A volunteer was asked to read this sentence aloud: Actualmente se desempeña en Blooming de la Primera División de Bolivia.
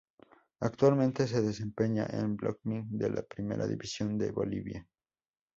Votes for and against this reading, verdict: 2, 0, accepted